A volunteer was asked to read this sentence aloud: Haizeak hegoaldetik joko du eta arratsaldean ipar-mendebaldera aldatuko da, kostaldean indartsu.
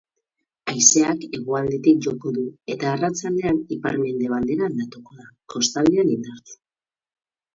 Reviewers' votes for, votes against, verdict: 8, 0, accepted